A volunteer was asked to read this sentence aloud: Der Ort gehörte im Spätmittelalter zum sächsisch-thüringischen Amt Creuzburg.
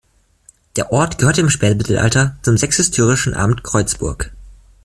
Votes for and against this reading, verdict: 1, 2, rejected